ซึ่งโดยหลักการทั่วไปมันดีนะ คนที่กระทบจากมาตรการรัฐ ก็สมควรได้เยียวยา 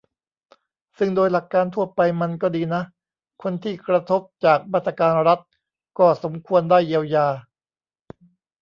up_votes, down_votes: 0, 2